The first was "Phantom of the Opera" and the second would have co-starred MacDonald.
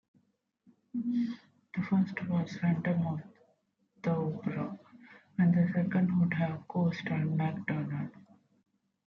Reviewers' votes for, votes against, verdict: 0, 2, rejected